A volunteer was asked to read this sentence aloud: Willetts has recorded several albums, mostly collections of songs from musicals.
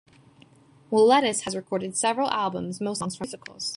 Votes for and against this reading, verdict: 0, 2, rejected